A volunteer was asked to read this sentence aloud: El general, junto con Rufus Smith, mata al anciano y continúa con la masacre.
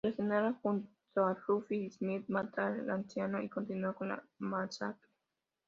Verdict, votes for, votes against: rejected, 0, 2